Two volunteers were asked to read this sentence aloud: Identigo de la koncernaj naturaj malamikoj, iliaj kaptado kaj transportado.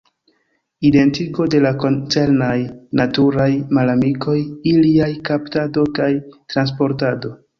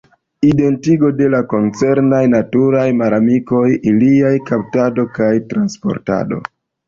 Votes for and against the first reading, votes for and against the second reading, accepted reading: 2, 0, 1, 2, first